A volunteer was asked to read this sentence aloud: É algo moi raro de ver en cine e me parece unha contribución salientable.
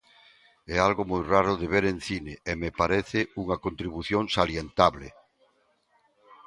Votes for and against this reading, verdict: 2, 0, accepted